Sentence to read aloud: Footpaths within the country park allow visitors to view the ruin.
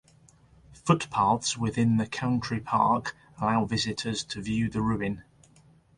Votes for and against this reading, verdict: 2, 0, accepted